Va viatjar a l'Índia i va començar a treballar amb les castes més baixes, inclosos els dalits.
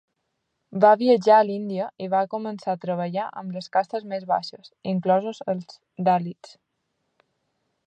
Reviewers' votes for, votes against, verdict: 1, 2, rejected